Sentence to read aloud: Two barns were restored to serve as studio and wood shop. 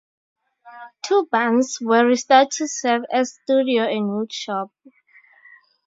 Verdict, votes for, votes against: accepted, 4, 0